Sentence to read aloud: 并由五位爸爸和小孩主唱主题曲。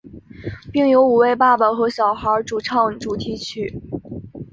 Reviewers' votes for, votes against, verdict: 4, 0, accepted